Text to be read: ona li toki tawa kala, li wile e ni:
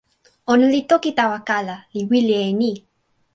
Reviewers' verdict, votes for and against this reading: accepted, 2, 0